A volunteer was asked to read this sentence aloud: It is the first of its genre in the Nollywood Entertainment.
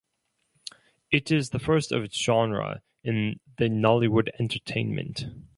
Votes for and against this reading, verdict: 2, 0, accepted